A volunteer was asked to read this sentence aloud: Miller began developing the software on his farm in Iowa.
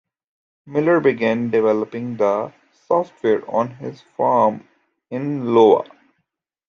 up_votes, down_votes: 1, 2